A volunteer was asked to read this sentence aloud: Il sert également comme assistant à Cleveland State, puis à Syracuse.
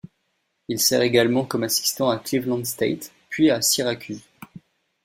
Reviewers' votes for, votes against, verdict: 2, 0, accepted